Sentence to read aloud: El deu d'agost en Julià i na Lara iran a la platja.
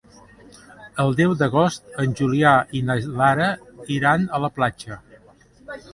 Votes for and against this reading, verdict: 2, 0, accepted